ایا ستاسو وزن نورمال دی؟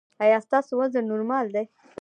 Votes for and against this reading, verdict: 1, 3, rejected